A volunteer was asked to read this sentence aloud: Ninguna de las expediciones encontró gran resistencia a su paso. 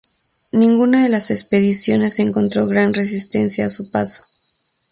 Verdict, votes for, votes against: rejected, 0, 2